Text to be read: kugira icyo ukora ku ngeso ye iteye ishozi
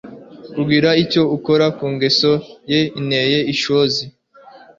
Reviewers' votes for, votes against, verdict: 0, 2, rejected